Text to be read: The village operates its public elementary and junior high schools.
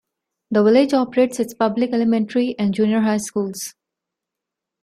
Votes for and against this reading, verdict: 1, 2, rejected